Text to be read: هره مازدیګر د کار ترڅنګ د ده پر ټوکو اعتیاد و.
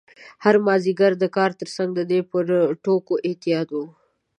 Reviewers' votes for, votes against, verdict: 1, 2, rejected